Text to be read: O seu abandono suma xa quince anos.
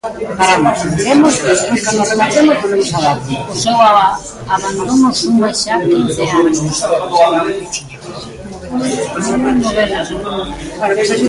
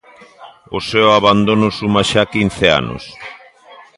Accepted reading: second